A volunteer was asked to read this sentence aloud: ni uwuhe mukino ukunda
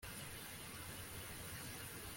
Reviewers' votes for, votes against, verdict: 0, 2, rejected